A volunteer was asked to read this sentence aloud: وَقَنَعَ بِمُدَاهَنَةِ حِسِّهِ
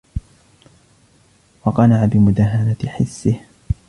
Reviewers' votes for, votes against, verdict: 2, 0, accepted